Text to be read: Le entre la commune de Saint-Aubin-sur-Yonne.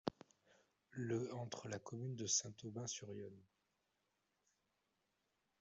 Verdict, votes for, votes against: rejected, 1, 2